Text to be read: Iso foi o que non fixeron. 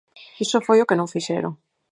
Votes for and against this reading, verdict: 4, 0, accepted